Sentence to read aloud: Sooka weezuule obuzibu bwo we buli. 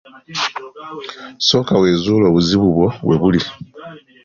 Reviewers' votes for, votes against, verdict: 2, 1, accepted